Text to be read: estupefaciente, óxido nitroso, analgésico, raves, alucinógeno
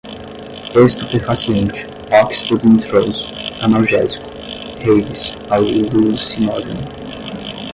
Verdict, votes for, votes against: rejected, 5, 5